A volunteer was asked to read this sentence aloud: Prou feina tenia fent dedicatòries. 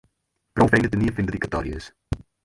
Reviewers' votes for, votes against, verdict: 0, 4, rejected